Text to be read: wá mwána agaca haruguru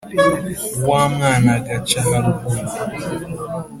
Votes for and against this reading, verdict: 2, 0, accepted